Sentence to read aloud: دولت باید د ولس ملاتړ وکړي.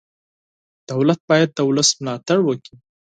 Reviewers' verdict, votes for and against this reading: accepted, 4, 0